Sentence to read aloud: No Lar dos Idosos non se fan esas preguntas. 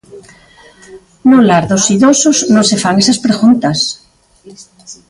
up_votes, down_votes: 2, 0